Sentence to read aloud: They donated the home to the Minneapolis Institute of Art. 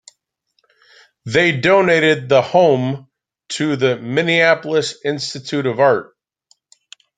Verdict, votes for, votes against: rejected, 1, 2